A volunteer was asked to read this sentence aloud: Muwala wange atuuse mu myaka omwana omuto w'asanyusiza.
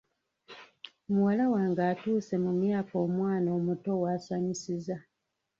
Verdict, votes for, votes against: rejected, 0, 2